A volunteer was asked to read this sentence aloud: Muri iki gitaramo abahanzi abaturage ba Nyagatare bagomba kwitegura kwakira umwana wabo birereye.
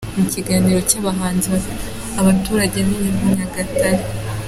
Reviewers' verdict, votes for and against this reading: rejected, 0, 2